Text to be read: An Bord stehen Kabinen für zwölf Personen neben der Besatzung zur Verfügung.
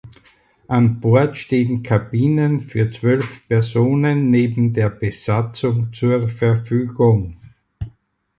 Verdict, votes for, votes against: accepted, 4, 0